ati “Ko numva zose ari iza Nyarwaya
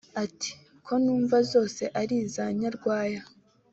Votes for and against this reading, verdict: 2, 0, accepted